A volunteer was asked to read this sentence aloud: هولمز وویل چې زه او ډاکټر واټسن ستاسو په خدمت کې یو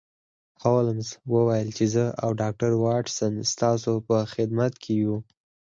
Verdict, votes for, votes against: accepted, 4, 0